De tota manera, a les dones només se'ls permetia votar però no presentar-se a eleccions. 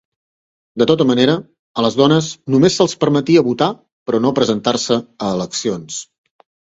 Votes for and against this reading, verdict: 2, 0, accepted